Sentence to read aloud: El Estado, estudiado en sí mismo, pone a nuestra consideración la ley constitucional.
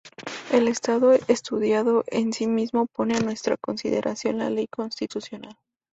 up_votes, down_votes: 2, 0